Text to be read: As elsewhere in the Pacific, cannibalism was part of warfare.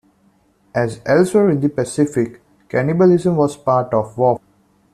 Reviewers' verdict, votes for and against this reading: rejected, 0, 2